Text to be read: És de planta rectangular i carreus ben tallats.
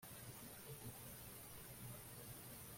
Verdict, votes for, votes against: rejected, 0, 2